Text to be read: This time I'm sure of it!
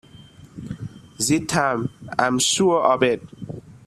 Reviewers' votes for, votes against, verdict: 0, 2, rejected